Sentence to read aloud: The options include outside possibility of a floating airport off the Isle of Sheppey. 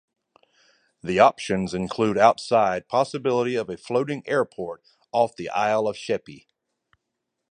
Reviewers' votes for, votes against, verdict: 2, 0, accepted